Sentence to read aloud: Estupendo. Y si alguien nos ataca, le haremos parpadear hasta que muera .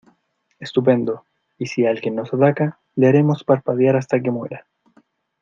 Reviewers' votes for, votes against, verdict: 2, 0, accepted